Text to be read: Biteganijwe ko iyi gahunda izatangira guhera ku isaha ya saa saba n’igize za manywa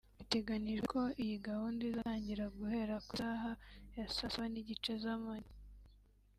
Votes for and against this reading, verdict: 0, 2, rejected